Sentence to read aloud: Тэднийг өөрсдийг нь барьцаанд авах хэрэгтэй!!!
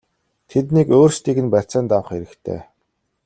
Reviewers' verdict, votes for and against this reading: accepted, 2, 0